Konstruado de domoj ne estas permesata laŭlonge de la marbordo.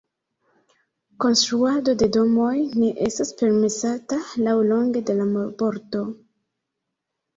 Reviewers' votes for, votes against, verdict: 0, 2, rejected